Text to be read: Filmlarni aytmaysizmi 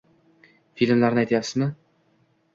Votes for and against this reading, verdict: 0, 2, rejected